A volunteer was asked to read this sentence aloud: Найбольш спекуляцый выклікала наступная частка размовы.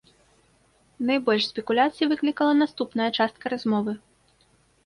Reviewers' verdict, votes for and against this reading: accepted, 2, 0